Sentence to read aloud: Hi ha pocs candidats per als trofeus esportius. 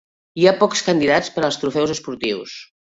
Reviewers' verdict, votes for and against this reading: accepted, 3, 0